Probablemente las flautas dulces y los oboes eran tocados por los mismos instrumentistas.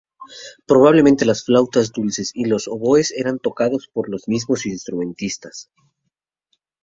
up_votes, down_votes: 2, 0